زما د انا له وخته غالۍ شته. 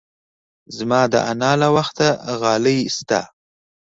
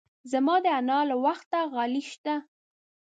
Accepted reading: first